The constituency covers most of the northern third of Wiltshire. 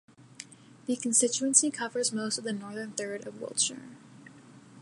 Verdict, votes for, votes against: rejected, 0, 2